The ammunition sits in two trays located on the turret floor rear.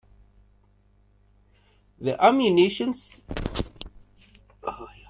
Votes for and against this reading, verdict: 0, 2, rejected